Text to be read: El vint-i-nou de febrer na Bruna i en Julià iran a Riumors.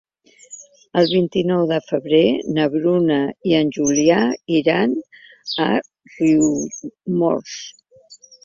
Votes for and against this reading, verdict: 0, 2, rejected